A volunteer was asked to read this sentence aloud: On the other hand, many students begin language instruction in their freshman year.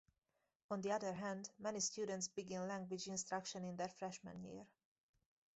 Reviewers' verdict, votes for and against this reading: rejected, 2, 4